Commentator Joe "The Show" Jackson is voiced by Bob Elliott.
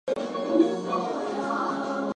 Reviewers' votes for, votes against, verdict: 0, 4, rejected